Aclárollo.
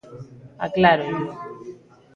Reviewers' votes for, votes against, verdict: 2, 0, accepted